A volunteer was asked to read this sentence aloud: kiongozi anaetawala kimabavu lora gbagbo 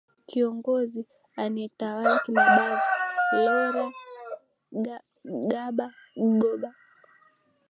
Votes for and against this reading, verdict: 6, 2, accepted